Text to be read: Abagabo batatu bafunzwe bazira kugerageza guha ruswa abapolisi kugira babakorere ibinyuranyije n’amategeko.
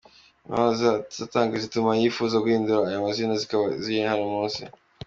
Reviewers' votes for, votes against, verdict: 0, 2, rejected